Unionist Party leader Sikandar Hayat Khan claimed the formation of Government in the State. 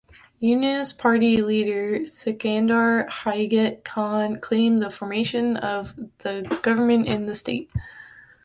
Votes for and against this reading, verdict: 0, 2, rejected